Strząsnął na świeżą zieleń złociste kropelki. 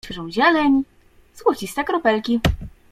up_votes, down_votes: 0, 2